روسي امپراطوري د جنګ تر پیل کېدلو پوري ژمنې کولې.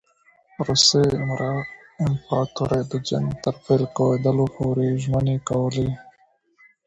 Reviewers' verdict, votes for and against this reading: rejected, 1, 2